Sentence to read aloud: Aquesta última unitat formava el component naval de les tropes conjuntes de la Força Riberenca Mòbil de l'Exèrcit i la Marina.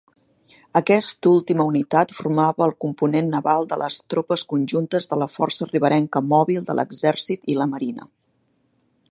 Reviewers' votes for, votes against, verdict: 0, 2, rejected